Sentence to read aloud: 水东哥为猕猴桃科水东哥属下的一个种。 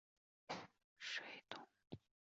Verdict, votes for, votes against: rejected, 0, 2